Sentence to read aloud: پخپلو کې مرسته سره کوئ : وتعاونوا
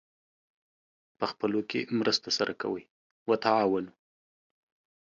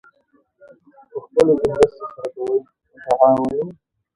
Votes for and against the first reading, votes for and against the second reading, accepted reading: 2, 0, 1, 2, first